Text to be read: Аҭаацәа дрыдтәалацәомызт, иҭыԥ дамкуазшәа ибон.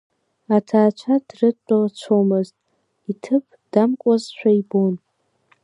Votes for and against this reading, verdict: 2, 0, accepted